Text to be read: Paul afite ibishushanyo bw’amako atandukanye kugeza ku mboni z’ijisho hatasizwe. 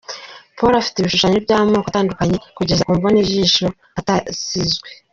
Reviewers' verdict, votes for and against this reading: rejected, 0, 3